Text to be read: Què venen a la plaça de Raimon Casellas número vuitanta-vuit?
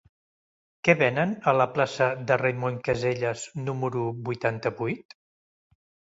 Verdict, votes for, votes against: accepted, 2, 0